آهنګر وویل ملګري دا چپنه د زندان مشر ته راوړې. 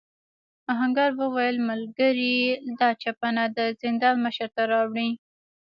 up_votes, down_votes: 2, 1